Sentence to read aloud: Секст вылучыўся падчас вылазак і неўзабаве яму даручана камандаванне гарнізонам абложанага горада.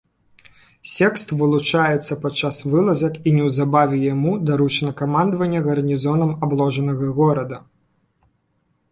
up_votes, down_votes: 2, 1